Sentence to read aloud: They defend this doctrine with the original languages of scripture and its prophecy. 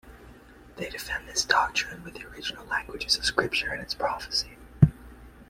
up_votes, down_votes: 2, 0